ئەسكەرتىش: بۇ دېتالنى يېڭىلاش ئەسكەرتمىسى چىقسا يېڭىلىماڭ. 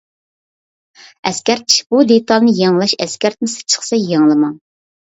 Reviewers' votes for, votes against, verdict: 2, 0, accepted